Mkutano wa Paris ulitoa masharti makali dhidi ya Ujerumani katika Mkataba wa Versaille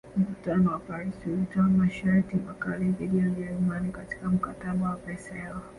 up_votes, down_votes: 1, 2